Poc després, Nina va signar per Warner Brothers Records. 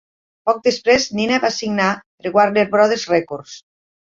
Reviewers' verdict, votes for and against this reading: rejected, 1, 2